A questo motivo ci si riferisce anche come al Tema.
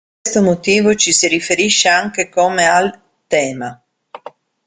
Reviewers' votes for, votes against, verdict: 1, 2, rejected